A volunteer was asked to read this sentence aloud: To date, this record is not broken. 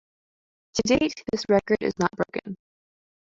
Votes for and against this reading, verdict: 2, 0, accepted